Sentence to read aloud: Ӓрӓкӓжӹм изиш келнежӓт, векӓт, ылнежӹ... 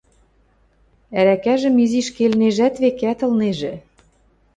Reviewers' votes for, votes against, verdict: 2, 0, accepted